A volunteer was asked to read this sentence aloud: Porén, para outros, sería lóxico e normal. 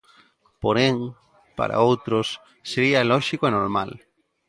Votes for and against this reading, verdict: 2, 0, accepted